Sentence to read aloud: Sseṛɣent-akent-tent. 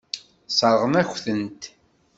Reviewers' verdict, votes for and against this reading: rejected, 1, 2